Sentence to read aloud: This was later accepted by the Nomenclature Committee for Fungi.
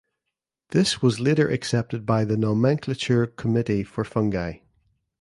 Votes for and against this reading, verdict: 0, 2, rejected